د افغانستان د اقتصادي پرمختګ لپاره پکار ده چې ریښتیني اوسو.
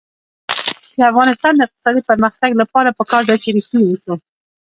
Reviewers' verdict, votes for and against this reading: accepted, 2, 0